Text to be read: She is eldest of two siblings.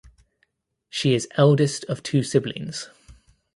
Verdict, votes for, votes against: accepted, 2, 0